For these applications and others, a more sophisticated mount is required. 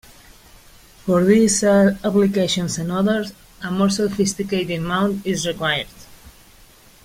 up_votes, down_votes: 2, 1